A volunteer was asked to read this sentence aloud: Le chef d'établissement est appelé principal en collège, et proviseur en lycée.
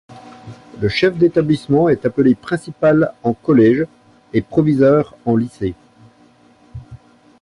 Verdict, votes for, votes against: accepted, 2, 0